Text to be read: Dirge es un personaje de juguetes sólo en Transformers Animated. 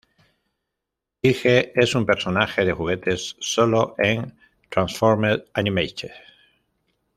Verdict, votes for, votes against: accepted, 2, 0